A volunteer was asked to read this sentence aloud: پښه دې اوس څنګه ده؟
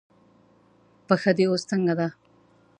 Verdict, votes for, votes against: accepted, 2, 0